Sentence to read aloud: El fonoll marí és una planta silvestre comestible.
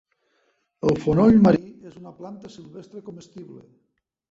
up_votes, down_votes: 0, 3